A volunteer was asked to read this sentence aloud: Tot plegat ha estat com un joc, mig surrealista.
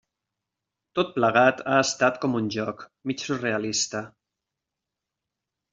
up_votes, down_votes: 4, 0